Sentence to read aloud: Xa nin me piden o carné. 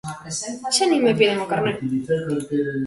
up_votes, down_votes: 0, 2